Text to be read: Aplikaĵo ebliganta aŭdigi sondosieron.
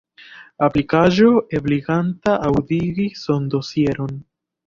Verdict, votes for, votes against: accepted, 2, 1